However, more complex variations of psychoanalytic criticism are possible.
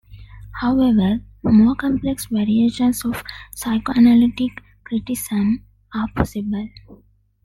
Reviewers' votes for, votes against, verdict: 0, 2, rejected